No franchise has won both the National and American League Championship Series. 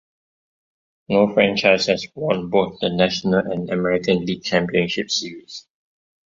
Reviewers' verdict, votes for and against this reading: rejected, 1, 2